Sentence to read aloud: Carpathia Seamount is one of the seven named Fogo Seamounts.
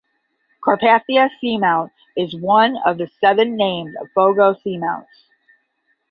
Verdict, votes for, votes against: accepted, 5, 0